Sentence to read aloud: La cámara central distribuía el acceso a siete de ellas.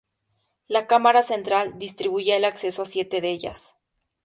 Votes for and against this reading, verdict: 2, 0, accepted